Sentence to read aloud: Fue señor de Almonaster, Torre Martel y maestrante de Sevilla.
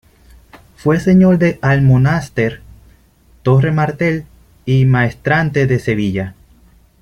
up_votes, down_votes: 2, 0